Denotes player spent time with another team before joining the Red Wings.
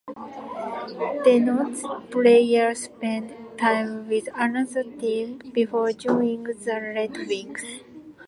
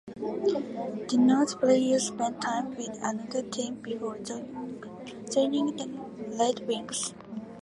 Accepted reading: first